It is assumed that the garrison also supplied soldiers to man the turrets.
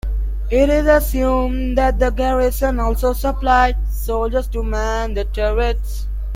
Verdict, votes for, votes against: accepted, 2, 1